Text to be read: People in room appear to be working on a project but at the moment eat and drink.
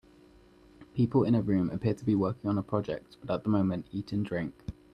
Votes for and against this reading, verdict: 1, 2, rejected